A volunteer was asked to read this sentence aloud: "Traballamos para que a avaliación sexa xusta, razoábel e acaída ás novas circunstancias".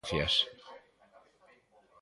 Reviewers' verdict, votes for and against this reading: rejected, 1, 2